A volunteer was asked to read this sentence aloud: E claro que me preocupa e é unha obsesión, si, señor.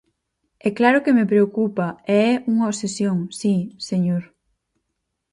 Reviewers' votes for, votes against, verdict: 2, 0, accepted